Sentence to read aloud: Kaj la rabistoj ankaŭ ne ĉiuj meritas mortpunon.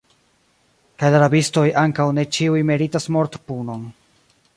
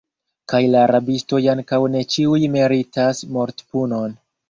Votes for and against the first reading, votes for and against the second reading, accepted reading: 0, 2, 2, 1, second